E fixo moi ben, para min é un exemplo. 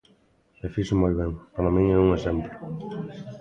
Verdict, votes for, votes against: rejected, 1, 2